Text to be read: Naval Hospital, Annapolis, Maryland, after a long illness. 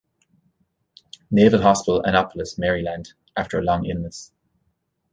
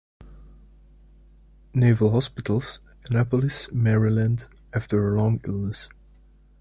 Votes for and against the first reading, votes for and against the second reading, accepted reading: 2, 0, 0, 2, first